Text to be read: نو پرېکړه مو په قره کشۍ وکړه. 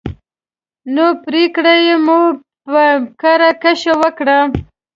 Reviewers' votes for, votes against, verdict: 0, 2, rejected